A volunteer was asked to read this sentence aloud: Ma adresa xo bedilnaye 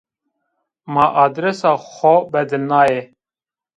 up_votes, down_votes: 1, 2